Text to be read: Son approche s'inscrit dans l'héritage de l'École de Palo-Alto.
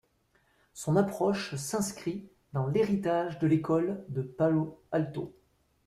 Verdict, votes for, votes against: accepted, 2, 0